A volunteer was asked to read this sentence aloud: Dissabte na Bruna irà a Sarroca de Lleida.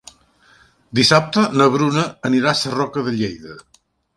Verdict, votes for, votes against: rejected, 0, 2